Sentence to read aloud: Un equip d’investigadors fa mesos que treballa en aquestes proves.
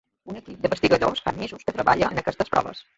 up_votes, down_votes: 0, 2